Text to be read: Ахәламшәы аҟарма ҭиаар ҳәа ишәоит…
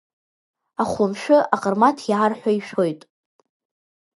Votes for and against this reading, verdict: 1, 2, rejected